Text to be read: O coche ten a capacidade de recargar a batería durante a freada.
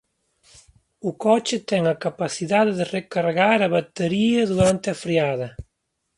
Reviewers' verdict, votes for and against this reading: accepted, 2, 1